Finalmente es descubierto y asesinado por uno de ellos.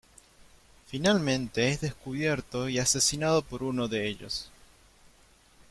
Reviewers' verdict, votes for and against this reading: accepted, 2, 1